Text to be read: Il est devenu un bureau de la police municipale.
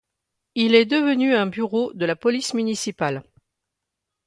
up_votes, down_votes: 2, 0